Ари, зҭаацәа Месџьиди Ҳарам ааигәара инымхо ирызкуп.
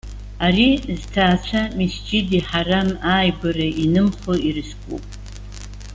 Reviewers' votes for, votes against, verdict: 0, 2, rejected